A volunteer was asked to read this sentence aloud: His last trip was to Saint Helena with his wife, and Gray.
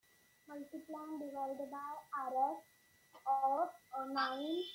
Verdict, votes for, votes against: rejected, 0, 2